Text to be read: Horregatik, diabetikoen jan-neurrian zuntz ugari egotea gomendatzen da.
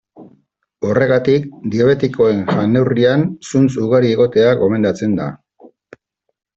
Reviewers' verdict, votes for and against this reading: accepted, 2, 1